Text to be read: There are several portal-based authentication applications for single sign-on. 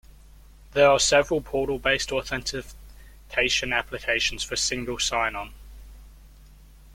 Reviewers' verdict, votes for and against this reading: rejected, 0, 2